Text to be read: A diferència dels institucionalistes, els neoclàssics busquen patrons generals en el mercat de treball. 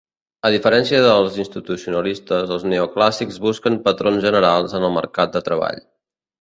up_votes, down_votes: 2, 0